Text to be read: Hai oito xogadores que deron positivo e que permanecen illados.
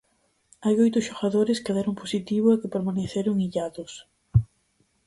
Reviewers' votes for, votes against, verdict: 0, 4, rejected